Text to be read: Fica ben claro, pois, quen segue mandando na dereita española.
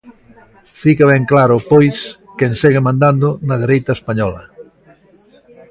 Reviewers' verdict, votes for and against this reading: rejected, 1, 2